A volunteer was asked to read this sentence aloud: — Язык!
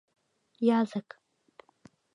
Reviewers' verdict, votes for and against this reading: accepted, 2, 0